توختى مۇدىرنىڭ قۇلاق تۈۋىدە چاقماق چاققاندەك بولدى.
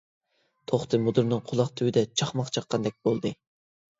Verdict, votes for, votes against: accepted, 2, 0